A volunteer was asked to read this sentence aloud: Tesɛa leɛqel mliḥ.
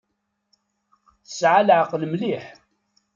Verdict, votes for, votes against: accepted, 2, 0